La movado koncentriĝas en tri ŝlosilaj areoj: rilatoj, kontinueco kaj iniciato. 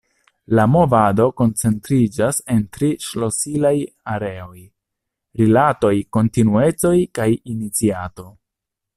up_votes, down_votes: 1, 2